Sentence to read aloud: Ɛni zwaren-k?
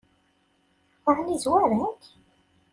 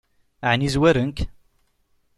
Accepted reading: second